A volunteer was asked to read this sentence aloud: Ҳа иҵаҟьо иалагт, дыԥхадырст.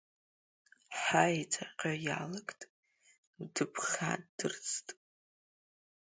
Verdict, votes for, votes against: rejected, 1, 2